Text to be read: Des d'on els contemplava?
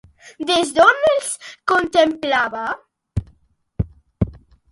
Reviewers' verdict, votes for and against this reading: accepted, 2, 0